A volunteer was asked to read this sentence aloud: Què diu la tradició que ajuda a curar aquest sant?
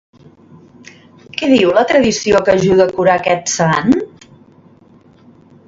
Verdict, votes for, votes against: accepted, 2, 0